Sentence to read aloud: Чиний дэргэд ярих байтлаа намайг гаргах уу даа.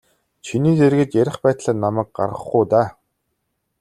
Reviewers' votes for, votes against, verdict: 2, 0, accepted